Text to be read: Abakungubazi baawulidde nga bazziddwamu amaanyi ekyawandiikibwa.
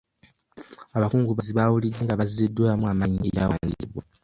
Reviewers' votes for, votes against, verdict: 0, 2, rejected